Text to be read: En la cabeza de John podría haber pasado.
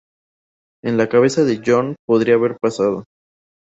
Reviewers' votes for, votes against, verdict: 0, 2, rejected